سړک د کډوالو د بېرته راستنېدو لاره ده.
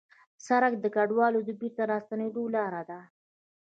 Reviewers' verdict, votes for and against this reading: rejected, 1, 2